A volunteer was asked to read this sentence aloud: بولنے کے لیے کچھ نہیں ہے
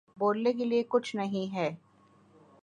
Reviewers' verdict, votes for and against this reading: accepted, 2, 0